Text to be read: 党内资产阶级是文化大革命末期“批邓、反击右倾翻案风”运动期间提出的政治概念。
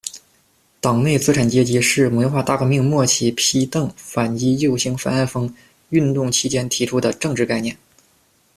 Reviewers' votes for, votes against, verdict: 2, 0, accepted